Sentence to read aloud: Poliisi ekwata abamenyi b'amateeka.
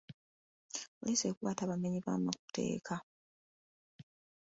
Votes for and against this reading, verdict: 2, 0, accepted